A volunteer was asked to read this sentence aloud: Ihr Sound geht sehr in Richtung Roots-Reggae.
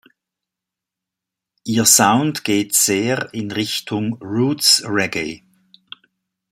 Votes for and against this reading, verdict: 2, 0, accepted